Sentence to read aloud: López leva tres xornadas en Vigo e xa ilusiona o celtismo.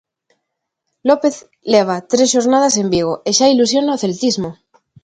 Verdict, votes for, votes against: accepted, 2, 0